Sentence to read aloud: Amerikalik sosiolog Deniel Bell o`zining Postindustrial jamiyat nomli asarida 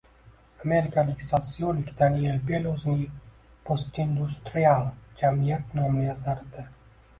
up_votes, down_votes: 2, 1